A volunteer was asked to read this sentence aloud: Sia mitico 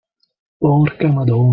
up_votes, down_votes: 0, 2